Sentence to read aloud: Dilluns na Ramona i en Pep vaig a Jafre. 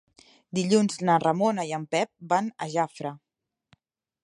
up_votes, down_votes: 0, 2